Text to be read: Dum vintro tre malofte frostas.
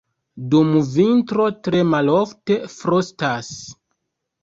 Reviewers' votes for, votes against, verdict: 3, 0, accepted